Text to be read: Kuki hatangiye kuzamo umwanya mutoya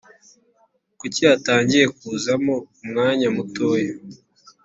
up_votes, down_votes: 2, 0